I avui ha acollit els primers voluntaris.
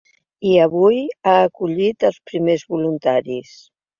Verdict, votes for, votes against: accepted, 3, 0